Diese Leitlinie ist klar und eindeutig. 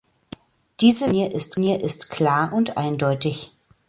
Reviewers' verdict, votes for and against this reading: rejected, 0, 2